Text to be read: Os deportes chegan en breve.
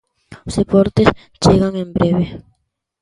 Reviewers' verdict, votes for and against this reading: accepted, 2, 0